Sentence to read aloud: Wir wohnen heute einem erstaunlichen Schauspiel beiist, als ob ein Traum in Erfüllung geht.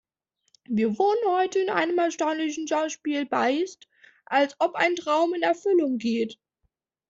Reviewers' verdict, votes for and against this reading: rejected, 1, 2